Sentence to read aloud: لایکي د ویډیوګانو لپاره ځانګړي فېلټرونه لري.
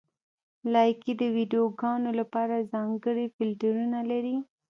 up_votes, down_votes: 1, 2